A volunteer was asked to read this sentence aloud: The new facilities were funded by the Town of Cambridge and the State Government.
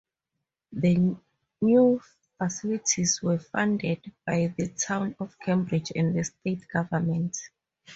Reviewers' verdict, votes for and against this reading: accepted, 4, 0